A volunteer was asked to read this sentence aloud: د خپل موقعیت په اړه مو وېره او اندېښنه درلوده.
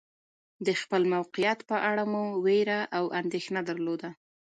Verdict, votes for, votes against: rejected, 1, 2